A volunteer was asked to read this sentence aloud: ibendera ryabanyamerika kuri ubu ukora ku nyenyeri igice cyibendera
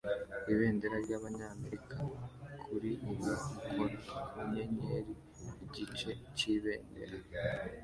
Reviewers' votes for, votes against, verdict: 2, 1, accepted